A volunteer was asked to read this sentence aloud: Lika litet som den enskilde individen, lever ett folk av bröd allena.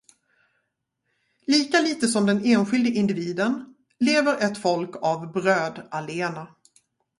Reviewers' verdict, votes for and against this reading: accepted, 2, 0